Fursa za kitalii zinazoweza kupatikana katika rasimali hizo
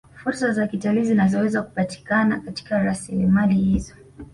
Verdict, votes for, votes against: accepted, 2, 0